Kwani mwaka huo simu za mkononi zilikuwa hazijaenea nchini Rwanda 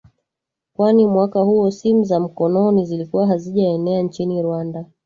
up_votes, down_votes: 0, 2